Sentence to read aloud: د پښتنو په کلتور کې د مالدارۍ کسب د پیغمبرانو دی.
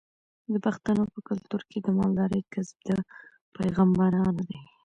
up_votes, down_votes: 2, 0